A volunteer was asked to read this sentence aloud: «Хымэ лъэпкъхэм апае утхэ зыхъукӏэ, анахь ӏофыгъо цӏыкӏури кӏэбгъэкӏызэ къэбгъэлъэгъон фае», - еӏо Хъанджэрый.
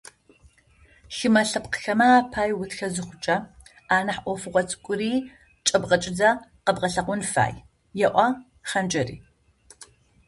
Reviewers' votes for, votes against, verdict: 0, 2, rejected